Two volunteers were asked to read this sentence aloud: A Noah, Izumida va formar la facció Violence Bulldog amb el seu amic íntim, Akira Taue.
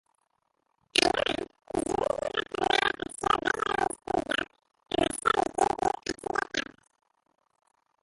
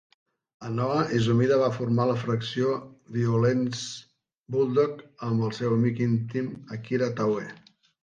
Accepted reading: second